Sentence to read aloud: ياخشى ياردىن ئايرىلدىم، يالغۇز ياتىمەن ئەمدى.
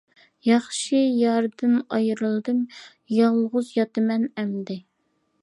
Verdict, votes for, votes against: accepted, 2, 0